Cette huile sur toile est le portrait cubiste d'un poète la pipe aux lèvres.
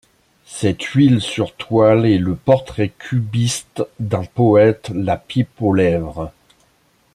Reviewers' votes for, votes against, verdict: 2, 1, accepted